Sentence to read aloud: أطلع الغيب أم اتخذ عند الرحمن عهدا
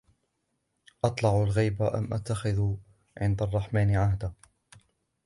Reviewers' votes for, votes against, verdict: 1, 2, rejected